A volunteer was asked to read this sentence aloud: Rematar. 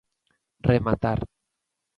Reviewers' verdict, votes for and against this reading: accepted, 2, 0